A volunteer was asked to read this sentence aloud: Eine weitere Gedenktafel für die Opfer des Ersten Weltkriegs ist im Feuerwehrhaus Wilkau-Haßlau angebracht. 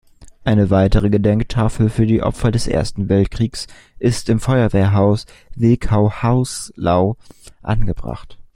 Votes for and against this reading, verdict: 0, 2, rejected